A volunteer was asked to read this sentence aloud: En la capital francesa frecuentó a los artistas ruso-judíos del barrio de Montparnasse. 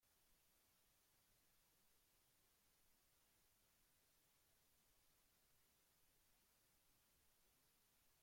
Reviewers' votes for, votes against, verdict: 0, 2, rejected